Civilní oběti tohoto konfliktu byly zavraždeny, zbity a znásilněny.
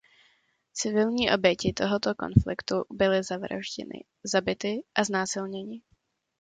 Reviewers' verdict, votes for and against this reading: rejected, 0, 2